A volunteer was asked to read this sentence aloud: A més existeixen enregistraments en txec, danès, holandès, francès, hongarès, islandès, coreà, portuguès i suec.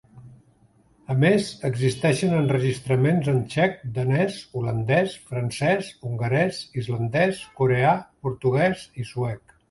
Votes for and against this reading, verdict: 3, 1, accepted